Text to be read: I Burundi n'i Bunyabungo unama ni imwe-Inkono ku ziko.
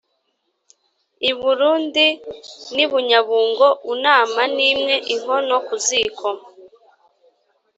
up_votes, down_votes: 4, 0